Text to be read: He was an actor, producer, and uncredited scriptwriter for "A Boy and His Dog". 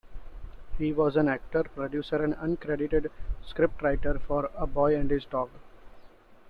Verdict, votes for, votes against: accepted, 2, 0